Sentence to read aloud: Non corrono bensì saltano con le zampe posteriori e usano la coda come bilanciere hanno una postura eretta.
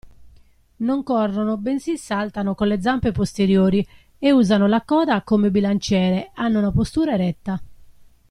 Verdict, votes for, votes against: accepted, 2, 0